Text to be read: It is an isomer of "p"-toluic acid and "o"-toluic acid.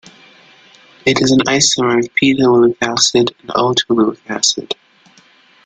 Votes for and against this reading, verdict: 0, 2, rejected